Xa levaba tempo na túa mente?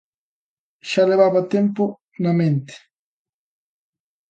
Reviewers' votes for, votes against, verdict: 0, 2, rejected